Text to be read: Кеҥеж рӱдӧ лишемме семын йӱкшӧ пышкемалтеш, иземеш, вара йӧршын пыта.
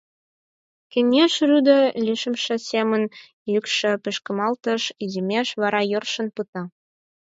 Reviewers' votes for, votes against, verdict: 4, 2, accepted